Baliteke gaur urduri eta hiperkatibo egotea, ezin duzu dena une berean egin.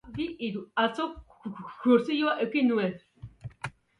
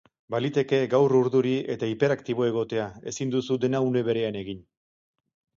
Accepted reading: second